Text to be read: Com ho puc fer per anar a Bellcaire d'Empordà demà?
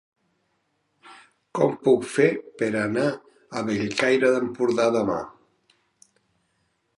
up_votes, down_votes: 1, 2